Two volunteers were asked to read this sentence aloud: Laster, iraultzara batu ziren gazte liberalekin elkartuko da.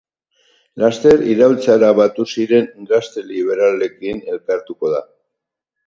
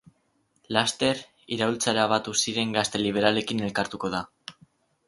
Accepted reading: first